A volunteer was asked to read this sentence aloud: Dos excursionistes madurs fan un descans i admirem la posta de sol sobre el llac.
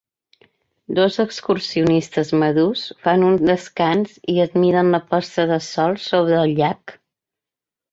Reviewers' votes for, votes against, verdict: 1, 2, rejected